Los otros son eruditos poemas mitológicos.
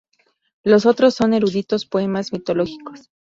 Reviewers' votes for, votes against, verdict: 2, 0, accepted